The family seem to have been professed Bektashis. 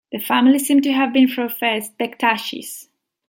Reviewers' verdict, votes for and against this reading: accepted, 2, 0